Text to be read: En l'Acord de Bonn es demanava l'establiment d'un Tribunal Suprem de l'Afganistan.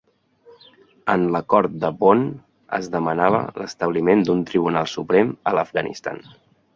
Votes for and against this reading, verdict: 0, 2, rejected